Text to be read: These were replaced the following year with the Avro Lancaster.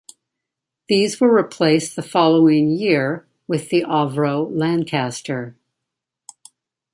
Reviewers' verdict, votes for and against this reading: accepted, 2, 1